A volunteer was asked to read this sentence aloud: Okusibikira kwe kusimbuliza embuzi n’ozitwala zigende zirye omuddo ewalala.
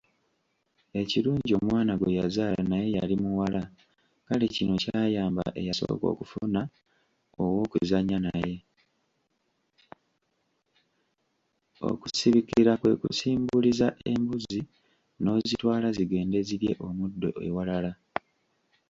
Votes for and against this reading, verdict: 0, 2, rejected